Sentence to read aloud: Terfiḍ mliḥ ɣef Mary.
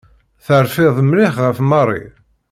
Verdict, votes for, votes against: accepted, 2, 0